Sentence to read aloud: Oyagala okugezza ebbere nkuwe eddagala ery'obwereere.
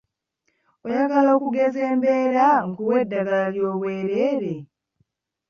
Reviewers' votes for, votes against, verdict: 0, 2, rejected